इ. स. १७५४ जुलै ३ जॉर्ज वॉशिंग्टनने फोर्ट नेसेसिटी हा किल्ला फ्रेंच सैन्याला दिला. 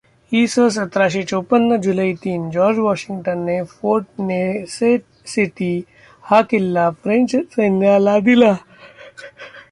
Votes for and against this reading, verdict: 0, 2, rejected